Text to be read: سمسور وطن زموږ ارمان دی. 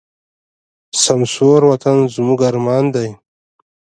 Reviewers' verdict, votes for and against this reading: rejected, 1, 2